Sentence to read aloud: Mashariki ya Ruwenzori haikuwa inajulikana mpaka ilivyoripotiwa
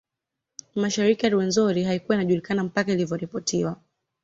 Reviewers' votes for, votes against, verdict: 2, 0, accepted